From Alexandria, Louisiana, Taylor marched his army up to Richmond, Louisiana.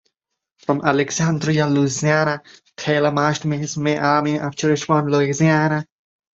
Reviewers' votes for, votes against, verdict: 1, 2, rejected